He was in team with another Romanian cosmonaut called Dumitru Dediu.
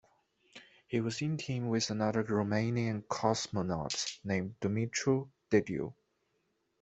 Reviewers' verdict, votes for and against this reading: rejected, 1, 2